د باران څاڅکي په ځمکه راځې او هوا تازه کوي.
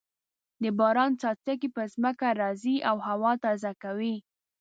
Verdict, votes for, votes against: rejected, 1, 2